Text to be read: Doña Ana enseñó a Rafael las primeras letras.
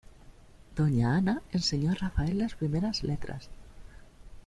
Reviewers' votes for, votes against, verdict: 2, 0, accepted